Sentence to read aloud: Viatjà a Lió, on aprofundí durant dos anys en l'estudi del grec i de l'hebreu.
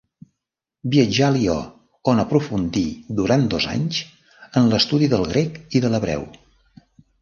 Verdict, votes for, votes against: rejected, 0, 2